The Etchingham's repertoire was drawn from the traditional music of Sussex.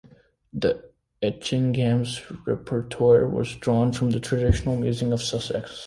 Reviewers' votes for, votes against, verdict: 0, 2, rejected